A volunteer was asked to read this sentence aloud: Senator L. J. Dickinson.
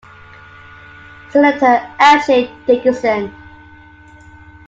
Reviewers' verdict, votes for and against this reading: accepted, 2, 0